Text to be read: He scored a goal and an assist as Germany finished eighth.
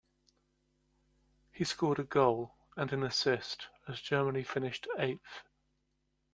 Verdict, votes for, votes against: accepted, 2, 0